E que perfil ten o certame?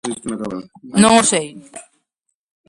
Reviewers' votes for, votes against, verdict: 0, 2, rejected